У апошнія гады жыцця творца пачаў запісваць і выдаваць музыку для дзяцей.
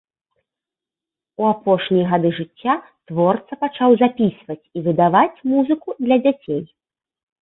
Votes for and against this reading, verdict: 2, 0, accepted